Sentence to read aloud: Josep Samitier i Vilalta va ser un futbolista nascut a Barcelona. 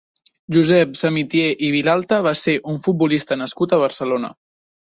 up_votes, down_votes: 2, 0